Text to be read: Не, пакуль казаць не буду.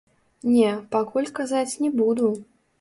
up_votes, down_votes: 1, 2